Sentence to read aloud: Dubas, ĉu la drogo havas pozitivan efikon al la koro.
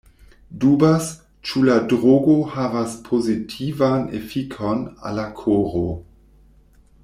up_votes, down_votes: 2, 0